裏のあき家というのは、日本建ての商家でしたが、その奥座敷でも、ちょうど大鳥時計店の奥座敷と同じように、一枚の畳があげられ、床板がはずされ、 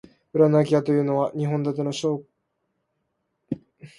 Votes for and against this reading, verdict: 0, 2, rejected